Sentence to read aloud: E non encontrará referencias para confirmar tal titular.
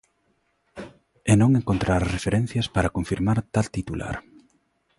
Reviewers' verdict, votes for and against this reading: accepted, 2, 1